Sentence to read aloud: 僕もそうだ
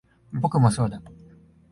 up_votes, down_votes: 2, 0